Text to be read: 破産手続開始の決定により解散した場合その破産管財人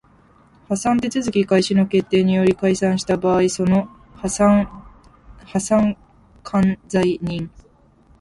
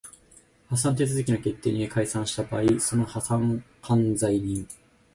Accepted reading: second